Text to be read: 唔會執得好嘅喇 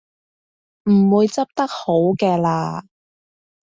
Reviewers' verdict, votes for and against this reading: accepted, 2, 0